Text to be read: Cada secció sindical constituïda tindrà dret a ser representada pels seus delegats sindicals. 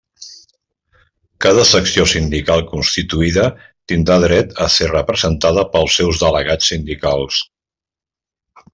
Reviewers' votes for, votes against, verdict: 3, 0, accepted